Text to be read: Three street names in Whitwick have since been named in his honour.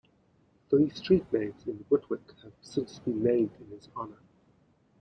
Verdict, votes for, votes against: rejected, 0, 2